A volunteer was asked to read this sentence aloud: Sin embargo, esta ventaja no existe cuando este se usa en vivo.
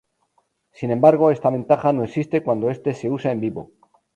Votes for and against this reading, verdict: 2, 0, accepted